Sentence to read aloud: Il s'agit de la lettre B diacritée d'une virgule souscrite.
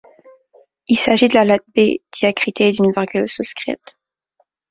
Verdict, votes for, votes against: rejected, 1, 2